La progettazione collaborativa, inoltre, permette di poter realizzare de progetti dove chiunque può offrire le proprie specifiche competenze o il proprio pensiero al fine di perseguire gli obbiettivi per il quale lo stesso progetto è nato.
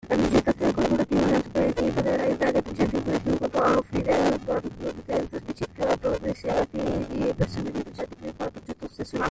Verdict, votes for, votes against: rejected, 1, 2